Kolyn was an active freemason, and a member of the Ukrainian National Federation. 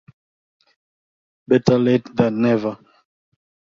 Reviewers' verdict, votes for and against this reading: rejected, 0, 2